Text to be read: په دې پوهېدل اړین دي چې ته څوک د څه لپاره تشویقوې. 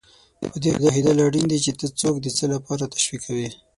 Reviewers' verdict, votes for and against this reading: rejected, 0, 6